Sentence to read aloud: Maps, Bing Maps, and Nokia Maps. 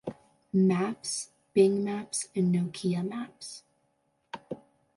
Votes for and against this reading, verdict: 2, 0, accepted